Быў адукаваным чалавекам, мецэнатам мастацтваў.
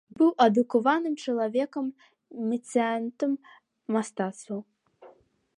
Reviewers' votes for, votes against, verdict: 0, 2, rejected